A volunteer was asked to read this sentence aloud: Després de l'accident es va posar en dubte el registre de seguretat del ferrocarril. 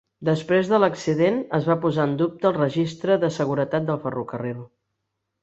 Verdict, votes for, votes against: accepted, 3, 0